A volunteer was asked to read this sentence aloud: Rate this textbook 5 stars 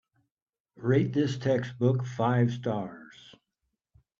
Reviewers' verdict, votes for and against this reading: rejected, 0, 2